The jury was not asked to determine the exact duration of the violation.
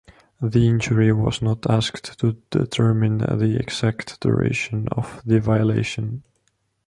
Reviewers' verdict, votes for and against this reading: rejected, 0, 2